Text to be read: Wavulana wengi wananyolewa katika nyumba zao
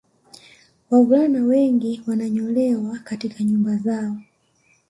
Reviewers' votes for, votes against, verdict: 2, 0, accepted